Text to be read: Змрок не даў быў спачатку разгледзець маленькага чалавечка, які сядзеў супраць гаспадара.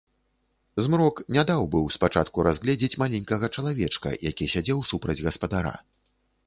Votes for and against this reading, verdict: 2, 0, accepted